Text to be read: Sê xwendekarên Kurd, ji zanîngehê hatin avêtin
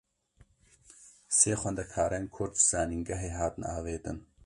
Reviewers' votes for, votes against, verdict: 1, 2, rejected